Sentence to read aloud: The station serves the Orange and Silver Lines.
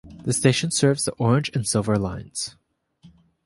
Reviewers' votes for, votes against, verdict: 2, 0, accepted